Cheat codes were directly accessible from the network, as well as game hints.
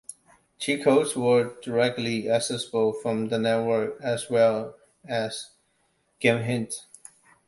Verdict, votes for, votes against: accepted, 2, 1